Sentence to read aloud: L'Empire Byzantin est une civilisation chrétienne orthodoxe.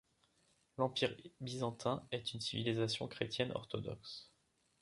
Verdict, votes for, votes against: rejected, 1, 2